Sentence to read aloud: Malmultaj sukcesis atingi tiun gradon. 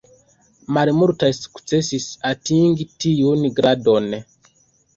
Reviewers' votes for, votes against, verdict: 0, 2, rejected